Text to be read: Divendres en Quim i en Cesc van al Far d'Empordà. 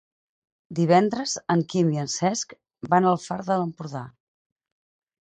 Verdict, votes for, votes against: rejected, 2, 4